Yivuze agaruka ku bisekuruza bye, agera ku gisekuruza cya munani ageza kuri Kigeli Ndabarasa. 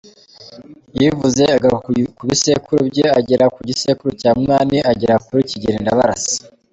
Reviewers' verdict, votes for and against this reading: rejected, 1, 2